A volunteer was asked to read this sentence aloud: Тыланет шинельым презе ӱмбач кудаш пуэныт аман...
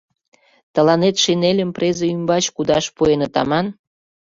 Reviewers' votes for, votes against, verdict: 2, 0, accepted